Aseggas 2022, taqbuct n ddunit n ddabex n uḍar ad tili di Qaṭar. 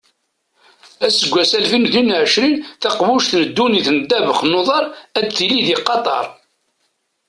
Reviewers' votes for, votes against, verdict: 0, 2, rejected